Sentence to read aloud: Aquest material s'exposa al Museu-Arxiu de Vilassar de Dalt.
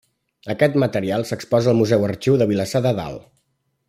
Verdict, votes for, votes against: accepted, 2, 1